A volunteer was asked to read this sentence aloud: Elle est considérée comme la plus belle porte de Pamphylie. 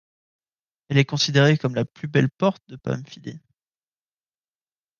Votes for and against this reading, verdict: 1, 2, rejected